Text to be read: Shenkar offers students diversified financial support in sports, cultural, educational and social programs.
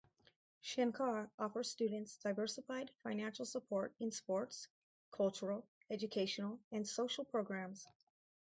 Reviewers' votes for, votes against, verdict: 0, 2, rejected